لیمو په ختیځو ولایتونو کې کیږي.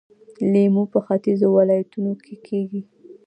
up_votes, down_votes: 2, 0